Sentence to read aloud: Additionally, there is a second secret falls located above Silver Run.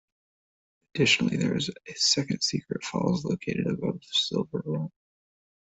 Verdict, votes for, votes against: rejected, 1, 2